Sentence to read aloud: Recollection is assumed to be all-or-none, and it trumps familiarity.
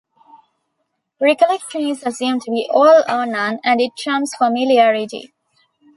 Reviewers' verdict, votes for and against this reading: accepted, 2, 0